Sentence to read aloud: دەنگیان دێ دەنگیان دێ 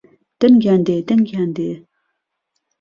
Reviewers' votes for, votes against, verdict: 2, 0, accepted